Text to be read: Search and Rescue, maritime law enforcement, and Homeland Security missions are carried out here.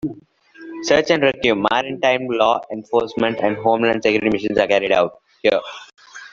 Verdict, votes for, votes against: rejected, 1, 2